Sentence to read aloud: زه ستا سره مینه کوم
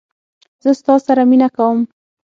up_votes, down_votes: 9, 0